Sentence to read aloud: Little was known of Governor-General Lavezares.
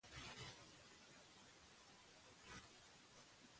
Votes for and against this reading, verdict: 0, 2, rejected